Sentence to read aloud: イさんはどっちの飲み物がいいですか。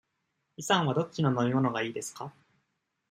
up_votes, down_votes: 2, 0